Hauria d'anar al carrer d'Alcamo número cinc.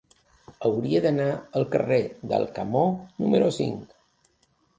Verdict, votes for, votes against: accepted, 2, 0